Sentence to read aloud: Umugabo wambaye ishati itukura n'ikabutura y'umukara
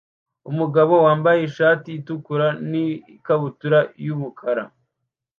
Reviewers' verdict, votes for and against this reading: rejected, 0, 2